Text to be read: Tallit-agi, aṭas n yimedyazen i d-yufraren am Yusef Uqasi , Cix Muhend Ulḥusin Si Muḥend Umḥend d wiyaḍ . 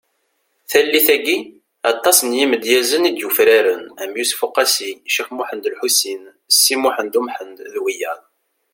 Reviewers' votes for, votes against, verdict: 2, 0, accepted